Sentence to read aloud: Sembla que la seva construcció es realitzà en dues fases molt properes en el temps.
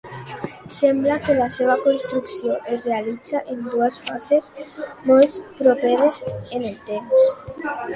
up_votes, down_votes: 1, 2